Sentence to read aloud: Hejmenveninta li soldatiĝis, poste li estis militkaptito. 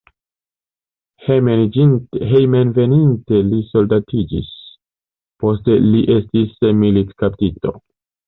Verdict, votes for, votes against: rejected, 1, 2